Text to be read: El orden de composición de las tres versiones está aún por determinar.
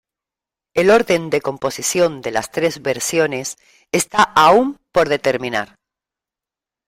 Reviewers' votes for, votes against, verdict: 2, 0, accepted